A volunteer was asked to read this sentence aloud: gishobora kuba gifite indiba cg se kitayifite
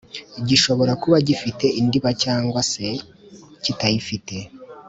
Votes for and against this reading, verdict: 2, 0, accepted